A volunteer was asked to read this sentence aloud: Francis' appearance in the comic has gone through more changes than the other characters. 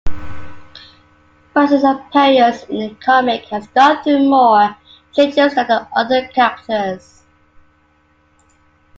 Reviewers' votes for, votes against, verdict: 1, 2, rejected